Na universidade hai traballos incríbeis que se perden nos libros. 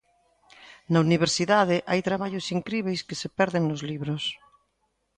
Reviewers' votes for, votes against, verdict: 3, 0, accepted